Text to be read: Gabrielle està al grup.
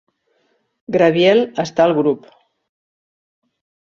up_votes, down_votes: 0, 2